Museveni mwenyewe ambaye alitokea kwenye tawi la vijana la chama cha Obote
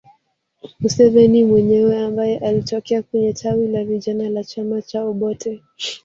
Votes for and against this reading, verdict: 1, 2, rejected